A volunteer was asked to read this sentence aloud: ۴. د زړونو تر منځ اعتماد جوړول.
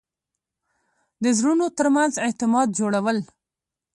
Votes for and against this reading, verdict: 0, 2, rejected